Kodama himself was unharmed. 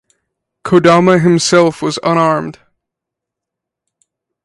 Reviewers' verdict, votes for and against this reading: rejected, 0, 4